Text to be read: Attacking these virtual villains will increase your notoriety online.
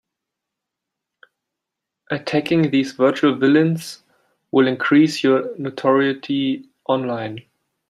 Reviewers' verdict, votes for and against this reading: rejected, 1, 2